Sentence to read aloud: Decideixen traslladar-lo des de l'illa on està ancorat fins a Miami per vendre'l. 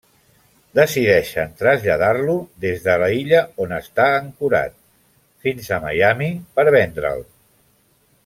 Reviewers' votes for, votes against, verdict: 1, 2, rejected